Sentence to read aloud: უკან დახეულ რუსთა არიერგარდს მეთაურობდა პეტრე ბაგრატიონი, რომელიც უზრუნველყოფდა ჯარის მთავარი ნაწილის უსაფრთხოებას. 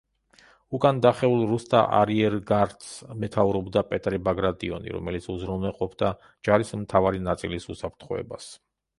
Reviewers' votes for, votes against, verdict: 3, 0, accepted